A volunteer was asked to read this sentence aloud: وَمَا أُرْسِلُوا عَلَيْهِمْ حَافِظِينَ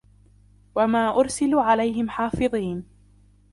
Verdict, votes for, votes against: accepted, 2, 1